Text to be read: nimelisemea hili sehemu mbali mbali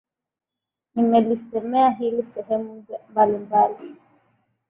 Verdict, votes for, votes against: rejected, 1, 2